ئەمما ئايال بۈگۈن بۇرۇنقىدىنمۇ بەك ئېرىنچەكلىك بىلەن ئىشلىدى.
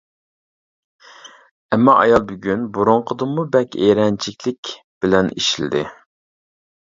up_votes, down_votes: 0, 2